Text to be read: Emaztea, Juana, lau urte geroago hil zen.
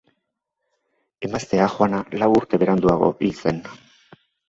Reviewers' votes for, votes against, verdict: 1, 2, rejected